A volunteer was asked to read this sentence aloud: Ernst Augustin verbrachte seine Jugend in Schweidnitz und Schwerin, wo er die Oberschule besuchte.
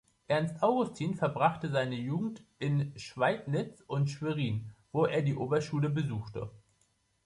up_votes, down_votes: 2, 1